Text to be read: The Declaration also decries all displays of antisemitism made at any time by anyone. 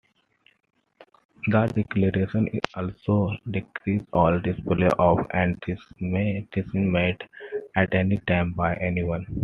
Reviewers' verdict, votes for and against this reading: rejected, 1, 2